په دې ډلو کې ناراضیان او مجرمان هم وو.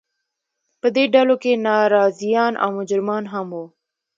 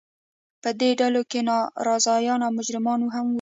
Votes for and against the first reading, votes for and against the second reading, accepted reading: 2, 0, 1, 2, first